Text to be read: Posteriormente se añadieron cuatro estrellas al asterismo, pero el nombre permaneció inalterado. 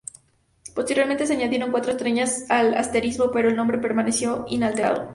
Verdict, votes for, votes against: rejected, 0, 2